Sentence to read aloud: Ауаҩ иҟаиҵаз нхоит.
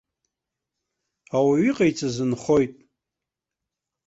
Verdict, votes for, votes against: accepted, 2, 0